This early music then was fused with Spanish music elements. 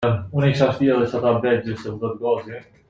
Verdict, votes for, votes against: rejected, 0, 2